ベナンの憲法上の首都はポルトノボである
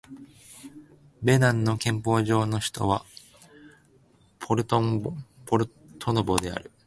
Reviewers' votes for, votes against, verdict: 2, 1, accepted